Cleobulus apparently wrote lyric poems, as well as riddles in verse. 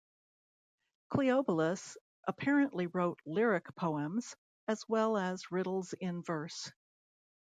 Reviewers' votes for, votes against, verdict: 1, 2, rejected